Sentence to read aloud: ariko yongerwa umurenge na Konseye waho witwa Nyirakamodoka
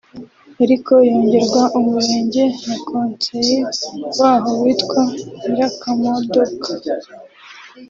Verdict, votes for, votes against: rejected, 0, 2